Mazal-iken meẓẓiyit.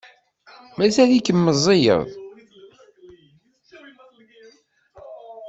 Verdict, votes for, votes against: rejected, 0, 2